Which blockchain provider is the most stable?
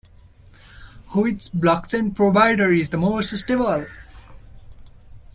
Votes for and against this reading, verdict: 2, 1, accepted